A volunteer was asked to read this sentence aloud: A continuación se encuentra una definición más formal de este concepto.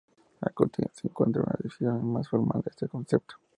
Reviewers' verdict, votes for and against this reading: rejected, 0, 2